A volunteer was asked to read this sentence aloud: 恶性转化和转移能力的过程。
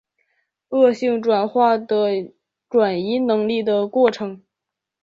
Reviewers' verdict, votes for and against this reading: rejected, 1, 4